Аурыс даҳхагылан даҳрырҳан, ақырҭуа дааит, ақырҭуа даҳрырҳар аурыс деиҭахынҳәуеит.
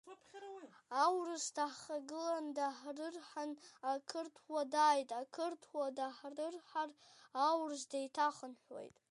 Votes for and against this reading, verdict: 0, 2, rejected